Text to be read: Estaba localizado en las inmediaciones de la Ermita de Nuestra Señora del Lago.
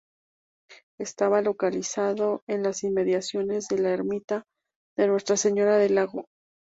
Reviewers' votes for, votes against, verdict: 2, 0, accepted